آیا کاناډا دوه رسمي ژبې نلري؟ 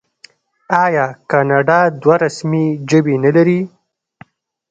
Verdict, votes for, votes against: accepted, 2, 0